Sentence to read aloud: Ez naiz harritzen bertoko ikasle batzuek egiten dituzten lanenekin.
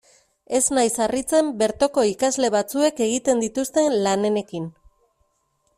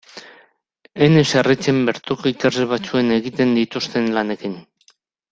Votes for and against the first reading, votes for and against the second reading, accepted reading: 2, 0, 1, 2, first